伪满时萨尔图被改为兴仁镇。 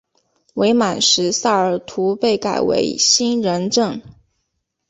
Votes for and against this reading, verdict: 7, 0, accepted